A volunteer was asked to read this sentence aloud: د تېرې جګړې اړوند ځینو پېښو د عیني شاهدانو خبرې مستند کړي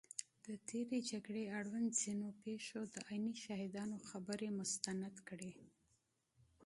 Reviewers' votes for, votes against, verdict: 2, 0, accepted